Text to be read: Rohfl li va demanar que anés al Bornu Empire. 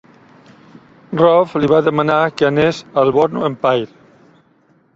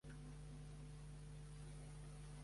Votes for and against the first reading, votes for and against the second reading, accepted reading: 2, 0, 1, 2, first